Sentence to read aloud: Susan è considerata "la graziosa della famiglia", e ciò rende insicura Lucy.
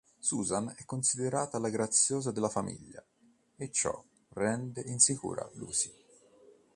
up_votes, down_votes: 2, 0